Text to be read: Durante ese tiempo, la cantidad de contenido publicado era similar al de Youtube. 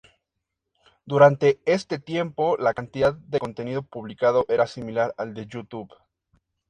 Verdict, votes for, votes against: rejected, 2, 2